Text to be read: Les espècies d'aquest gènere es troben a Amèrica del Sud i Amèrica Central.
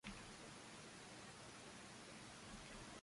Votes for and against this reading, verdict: 0, 2, rejected